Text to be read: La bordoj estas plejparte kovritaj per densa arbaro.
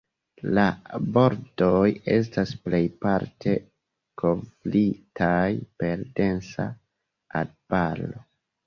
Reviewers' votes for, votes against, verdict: 1, 2, rejected